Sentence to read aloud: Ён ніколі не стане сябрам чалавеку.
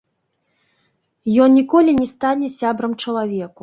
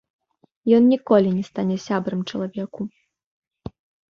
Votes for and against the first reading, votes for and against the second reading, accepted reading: 1, 3, 2, 0, second